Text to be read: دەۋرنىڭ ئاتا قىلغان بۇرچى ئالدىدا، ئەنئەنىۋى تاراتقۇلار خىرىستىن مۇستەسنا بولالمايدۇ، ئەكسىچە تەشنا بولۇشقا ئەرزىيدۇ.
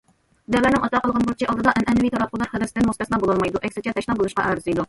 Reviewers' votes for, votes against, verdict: 0, 2, rejected